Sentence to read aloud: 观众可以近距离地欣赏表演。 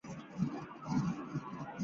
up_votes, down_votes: 0, 2